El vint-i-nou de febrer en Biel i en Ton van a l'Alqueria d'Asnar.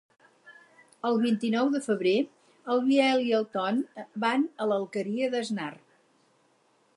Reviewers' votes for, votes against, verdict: 0, 4, rejected